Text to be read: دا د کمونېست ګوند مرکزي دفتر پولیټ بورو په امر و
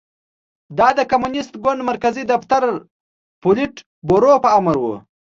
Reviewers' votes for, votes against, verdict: 2, 0, accepted